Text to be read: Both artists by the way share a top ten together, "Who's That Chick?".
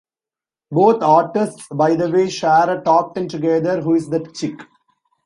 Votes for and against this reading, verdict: 0, 2, rejected